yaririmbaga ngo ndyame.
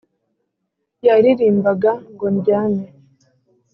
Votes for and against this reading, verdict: 3, 0, accepted